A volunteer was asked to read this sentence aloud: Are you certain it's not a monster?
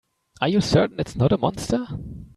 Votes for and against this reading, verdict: 1, 2, rejected